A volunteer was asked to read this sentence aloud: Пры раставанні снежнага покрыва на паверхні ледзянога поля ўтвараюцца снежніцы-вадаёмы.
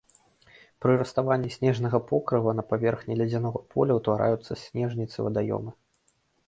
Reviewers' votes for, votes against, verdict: 2, 0, accepted